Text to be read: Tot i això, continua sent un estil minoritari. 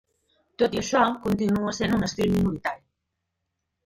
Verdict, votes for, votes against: rejected, 1, 2